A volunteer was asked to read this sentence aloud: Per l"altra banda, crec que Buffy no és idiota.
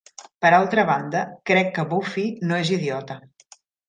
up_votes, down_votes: 1, 2